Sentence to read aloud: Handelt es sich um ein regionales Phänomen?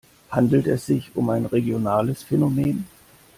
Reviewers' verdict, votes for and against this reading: accepted, 2, 0